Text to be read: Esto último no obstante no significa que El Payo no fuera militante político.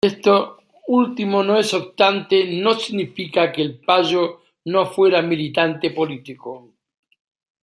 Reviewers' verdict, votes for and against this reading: rejected, 1, 2